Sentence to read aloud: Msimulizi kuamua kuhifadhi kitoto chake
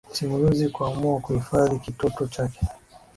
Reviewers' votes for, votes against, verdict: 2, 0, accepted